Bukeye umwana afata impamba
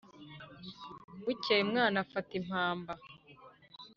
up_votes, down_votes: 3, 0